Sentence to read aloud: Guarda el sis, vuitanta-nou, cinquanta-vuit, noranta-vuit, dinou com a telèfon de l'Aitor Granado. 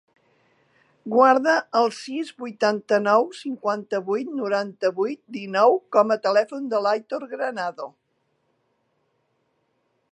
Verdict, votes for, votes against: accepted, 3, 0